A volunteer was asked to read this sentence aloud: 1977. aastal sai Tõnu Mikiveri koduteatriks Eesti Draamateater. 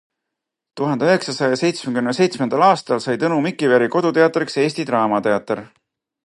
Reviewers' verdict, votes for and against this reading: rejected, 0, 2